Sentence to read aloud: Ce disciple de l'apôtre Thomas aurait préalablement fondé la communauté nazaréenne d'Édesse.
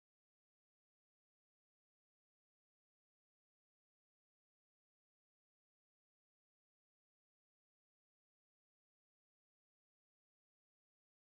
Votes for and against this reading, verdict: 0, 2, rejected